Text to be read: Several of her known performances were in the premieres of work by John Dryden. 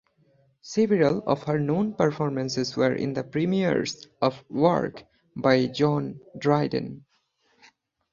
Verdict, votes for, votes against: accepted, 4, 0